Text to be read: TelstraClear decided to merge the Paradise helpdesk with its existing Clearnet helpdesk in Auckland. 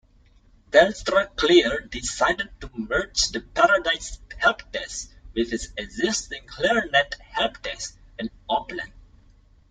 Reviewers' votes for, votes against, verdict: 2, 0, accepted